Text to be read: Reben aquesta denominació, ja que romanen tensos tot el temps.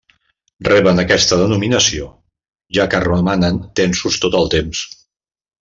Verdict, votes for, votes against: accepted, 2, 0